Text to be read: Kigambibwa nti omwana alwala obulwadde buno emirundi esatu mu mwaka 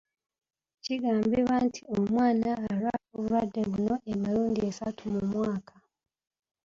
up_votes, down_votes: 2, 1